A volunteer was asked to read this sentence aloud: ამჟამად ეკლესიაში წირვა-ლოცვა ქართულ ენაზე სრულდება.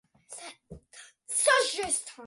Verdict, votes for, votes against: rejected, 0, 2